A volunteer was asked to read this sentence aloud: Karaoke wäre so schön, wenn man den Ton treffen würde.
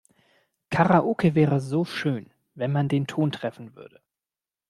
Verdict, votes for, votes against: accepted, 2, 0